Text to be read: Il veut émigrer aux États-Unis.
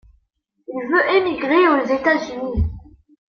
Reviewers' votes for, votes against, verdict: 2, 0, accepted